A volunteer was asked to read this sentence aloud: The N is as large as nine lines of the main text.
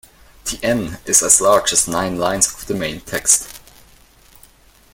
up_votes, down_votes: 2, 0